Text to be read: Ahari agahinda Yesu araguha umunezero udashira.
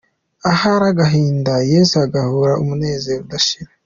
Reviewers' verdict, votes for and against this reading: accepted, 2, 0